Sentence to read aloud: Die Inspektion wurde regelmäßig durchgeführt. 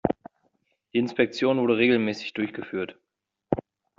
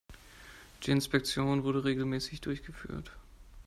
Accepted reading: second